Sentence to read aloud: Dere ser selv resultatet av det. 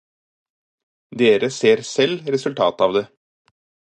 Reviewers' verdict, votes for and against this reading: accepted, 4, 0